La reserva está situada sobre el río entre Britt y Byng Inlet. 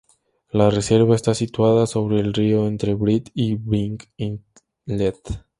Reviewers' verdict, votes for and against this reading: accepted, 2, 0